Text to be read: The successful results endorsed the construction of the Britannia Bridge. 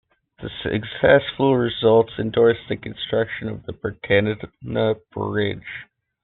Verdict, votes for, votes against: rejected, 1, 2